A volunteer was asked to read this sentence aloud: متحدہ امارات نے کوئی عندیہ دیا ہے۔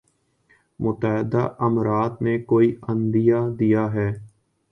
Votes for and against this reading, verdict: 2, 1, accepted